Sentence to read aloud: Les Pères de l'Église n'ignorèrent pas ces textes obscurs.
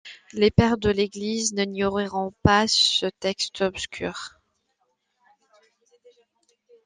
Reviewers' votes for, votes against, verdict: 1, 2, rejected